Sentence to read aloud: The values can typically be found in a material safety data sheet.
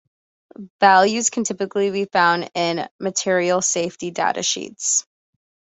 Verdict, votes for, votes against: accepted, 2, 1